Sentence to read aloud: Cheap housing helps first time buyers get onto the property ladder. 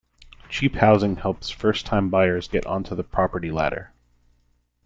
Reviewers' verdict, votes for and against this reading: accepted, 2, 0